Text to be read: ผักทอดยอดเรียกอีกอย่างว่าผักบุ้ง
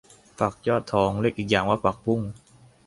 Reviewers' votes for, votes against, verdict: 0, 2, rejected